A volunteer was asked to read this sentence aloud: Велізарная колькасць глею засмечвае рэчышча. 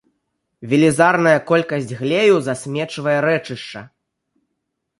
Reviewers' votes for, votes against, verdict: 3, 0, accepted